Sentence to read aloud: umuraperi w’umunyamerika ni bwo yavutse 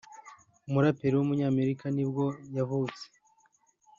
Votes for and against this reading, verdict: 2, 0, accepted